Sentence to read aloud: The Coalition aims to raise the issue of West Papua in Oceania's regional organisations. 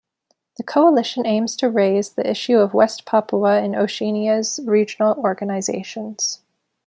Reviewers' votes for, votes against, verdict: 0, 2, rejected